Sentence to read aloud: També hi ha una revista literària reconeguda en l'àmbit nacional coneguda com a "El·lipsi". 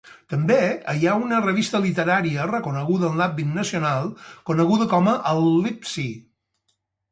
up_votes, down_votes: 2, 2